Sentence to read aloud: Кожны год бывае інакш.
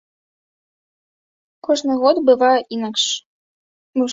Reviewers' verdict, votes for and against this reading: rejected, 1, 2